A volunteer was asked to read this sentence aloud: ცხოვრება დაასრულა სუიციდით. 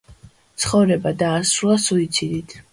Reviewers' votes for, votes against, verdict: 2, 0, accepted